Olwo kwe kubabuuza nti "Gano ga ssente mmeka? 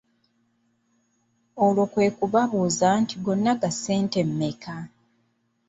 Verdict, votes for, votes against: rejected, 0, 2